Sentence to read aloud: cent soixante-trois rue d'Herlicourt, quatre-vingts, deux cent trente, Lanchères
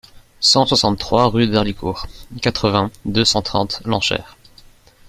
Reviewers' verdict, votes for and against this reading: accepted, 2, 0